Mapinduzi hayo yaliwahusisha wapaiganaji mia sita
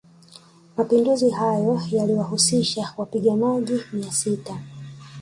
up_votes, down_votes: 1, 2